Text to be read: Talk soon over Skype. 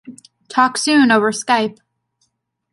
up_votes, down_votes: 2, 0